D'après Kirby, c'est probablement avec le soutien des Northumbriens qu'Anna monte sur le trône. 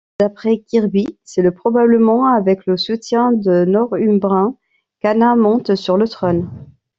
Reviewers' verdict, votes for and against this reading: rejected, 1, 2